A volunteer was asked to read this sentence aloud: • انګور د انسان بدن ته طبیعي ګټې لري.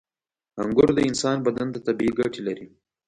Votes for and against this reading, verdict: 2, 0, accepted